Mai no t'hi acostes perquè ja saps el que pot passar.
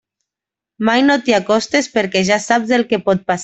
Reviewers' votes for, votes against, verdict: 0, 2, rejected